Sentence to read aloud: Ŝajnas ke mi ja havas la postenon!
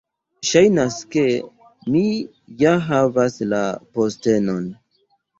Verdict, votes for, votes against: accepted, 2, 0